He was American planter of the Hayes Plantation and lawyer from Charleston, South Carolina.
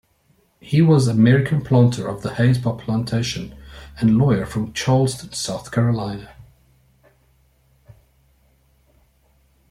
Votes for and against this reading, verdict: 3, 0, accepted